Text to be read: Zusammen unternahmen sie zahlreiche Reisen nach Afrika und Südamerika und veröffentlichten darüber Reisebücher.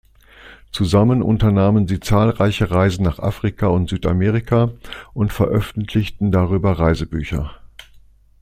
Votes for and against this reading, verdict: 2, 0, accepted